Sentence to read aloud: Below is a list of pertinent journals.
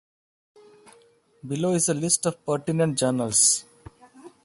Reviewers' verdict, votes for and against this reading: accepted, 2, 0